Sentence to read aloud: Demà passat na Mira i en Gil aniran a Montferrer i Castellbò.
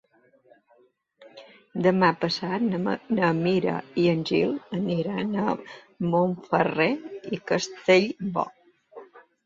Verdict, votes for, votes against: rejected, 1, 2